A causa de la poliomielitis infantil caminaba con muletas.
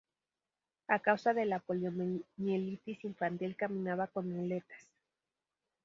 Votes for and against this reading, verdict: 2, 0, accepted